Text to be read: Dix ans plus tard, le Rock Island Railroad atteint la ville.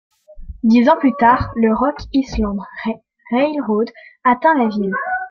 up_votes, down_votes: 0, 2